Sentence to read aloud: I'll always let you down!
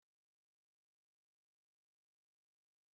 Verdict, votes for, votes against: rejected, 0, 3